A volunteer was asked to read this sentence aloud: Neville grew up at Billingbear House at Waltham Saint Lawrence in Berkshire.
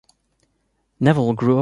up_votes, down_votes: 1, 2